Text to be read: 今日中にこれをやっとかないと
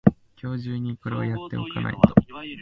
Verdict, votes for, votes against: rejected, 1, 2